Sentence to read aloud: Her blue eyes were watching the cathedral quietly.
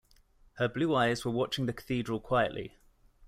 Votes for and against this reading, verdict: 2, 0, accepted